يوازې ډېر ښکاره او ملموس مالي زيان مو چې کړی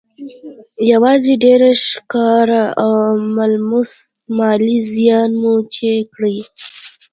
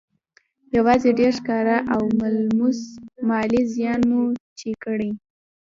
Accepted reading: second